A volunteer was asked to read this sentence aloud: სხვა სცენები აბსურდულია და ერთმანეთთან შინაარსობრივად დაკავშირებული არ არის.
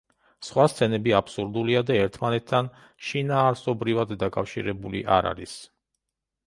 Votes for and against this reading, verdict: 2, 0, accepted